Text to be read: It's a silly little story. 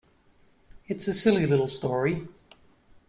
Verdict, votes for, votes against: accepted, 2, 0